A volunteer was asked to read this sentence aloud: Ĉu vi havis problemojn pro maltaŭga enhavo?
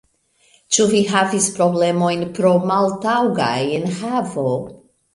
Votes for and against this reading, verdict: 2, 0, accepted